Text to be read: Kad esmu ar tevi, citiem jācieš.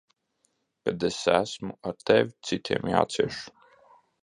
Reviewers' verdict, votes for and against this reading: rejected, 1, 2